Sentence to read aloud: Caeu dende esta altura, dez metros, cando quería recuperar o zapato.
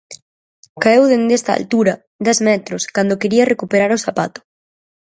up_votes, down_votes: 4, 0